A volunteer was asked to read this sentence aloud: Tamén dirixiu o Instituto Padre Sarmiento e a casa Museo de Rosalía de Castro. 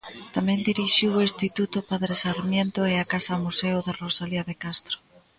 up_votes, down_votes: 2, 0